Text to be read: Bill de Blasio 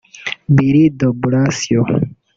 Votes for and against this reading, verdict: 1, 2, rejected